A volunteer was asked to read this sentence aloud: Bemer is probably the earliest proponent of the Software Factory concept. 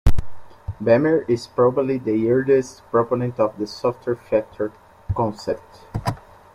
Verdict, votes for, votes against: accepted, 2, 0